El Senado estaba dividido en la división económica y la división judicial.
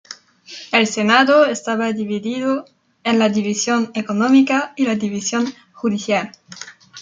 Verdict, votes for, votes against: accepted, 2, 0